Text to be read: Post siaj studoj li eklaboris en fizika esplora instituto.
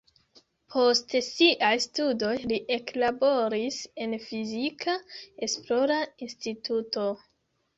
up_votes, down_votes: 2, 1